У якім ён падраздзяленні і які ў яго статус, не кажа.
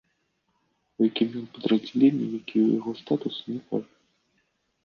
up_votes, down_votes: 0, 2